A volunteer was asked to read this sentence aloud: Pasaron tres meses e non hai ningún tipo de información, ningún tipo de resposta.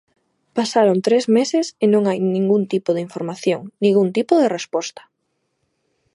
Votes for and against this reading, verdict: 2, 0, accepted